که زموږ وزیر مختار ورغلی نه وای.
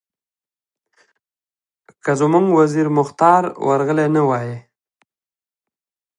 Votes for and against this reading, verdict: 2, 1, accepted